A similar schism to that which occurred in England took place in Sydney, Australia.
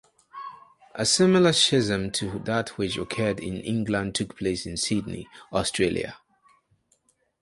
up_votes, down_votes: 2, 2